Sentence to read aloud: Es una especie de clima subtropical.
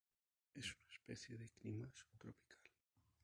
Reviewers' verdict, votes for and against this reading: rejected, 2, 2